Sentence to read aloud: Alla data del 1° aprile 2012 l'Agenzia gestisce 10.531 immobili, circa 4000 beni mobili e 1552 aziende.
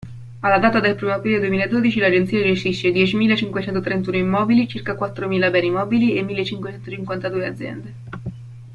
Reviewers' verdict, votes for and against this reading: rejected, 0, 2